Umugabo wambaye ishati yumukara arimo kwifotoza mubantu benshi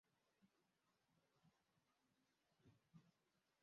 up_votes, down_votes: 0, 2